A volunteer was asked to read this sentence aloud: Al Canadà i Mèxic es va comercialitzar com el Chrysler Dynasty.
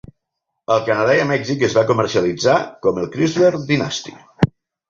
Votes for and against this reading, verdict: 4, 0, accepted